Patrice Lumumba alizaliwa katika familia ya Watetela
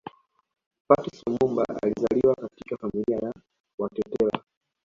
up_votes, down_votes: 2, 0